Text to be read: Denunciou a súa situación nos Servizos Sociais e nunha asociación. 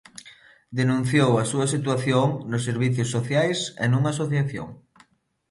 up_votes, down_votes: 0, 2